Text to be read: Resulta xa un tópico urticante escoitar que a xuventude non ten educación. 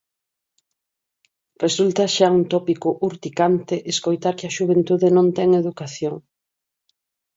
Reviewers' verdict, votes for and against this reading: rejected, 2, 4